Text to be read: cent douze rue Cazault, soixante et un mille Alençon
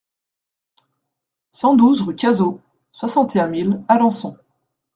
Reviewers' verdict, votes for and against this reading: accepted, 2, 0